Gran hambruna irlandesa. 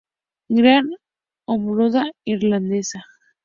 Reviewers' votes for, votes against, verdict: 0, 4, rejected